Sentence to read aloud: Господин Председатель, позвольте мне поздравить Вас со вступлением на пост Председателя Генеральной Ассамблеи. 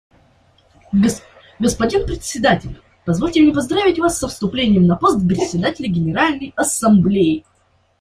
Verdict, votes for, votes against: rejected, 1, 2